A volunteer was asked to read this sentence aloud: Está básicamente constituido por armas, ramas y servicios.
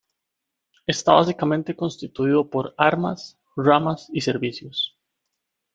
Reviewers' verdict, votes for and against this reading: accepted, 2, 1